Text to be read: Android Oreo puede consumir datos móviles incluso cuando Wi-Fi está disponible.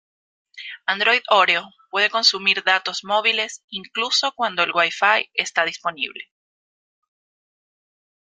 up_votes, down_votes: 2, 0